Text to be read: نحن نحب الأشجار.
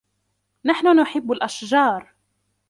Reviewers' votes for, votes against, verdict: 1, 2, rejected